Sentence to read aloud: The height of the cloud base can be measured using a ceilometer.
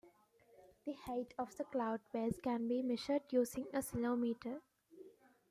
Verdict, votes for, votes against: accepted, 2, 0